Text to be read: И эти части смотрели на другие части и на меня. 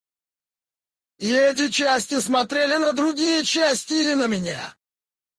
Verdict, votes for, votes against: rejected, 2, 2